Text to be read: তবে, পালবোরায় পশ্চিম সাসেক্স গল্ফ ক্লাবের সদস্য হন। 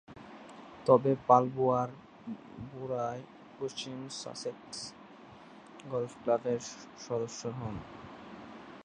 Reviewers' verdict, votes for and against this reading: rejected, 0, 2